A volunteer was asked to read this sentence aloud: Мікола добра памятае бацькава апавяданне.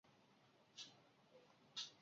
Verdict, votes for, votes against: rejected, 0, 2